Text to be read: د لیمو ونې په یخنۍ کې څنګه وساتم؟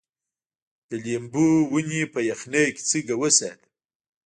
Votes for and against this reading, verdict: 1, 2, rejected